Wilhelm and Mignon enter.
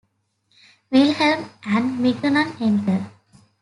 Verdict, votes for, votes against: accepted, 2, 0